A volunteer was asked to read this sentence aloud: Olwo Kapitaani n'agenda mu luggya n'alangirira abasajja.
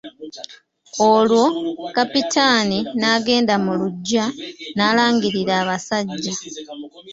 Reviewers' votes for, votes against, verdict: 2, 1, accepted